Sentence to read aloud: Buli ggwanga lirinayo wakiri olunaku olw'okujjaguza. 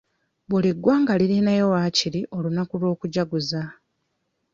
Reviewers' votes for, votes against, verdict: 1, 2, rejected